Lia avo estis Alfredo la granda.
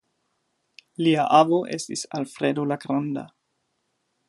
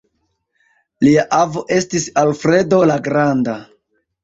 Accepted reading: first